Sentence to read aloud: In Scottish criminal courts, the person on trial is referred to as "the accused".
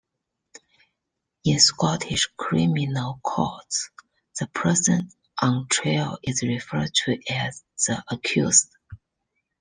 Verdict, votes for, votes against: rejected, 1, 2